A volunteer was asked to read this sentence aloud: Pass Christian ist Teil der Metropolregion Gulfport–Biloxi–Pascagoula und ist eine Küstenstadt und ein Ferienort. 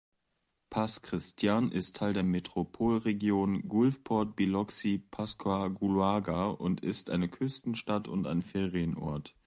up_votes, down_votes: 0, 2